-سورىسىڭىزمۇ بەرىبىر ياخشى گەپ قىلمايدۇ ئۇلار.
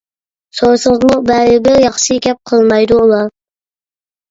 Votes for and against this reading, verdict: 1, 2, rejected